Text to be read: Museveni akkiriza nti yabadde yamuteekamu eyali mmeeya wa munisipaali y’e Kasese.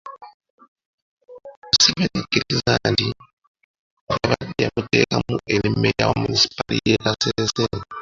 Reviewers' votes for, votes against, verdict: 0, 2, rejected